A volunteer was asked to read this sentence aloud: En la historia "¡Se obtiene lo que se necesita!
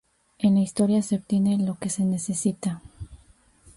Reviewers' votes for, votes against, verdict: 2, 0, accepted